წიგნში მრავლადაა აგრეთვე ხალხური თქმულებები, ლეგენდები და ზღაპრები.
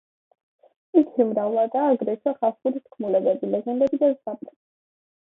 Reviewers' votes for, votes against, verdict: 2, 1, accepted